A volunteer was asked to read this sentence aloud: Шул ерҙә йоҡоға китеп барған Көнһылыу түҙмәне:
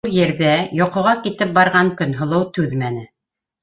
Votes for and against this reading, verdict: 1, 2, rejected